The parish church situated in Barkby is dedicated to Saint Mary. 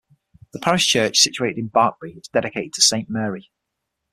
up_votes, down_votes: 6, 0